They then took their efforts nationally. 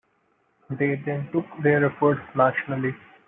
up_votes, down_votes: 2, 0